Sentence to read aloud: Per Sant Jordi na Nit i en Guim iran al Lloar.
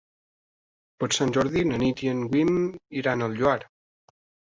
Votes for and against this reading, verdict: 0, 2, rejected